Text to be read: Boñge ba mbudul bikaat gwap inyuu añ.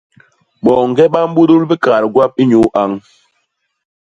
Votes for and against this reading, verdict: 2, 0, accepted